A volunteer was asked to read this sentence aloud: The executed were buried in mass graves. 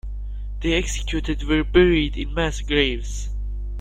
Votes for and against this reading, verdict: 1, 2, rejected